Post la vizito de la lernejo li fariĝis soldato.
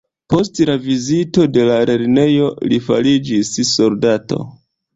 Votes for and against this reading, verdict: 1, 2, rejected